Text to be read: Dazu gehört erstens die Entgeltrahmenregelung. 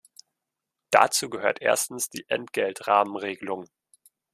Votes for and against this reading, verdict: 2, 0, accepted